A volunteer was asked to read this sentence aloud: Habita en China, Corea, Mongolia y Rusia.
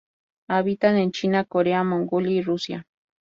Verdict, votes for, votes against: rejected, 2, 2